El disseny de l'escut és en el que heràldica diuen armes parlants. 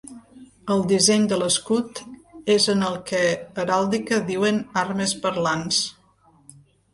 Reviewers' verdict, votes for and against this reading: accepted, 2, 0